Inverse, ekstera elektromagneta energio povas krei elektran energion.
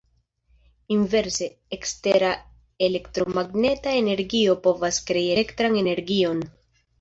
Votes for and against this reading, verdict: 2, 0, accepted